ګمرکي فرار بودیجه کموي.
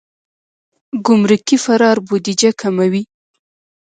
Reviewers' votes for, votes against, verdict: 1, 2, rejected